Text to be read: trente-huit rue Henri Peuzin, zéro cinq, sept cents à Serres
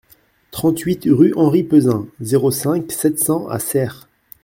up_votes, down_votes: 2, 0